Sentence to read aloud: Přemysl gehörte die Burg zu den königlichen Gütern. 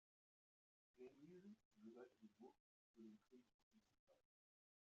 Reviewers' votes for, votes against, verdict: 0, 2, rejected